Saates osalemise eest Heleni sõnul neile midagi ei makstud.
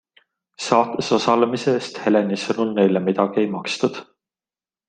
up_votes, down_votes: 2, 0